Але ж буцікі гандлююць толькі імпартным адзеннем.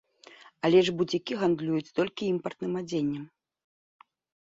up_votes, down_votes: 2, 0